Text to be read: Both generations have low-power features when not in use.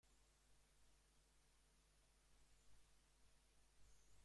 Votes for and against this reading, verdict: 0, 4, rejected